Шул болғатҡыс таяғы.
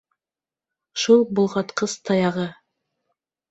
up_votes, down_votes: 2, 0